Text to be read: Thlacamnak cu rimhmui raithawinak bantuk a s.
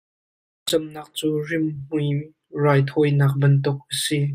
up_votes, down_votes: 1, 2